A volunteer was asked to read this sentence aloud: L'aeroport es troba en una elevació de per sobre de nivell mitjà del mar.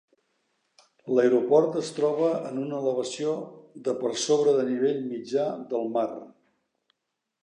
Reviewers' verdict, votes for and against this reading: accepted, 2, 0